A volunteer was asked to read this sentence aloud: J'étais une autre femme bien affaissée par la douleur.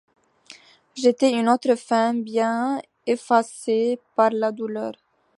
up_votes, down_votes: 1, 2